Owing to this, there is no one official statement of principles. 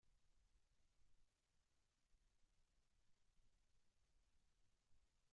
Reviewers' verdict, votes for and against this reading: rejected, 0, 2